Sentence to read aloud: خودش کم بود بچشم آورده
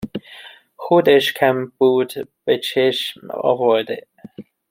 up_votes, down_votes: 0, 2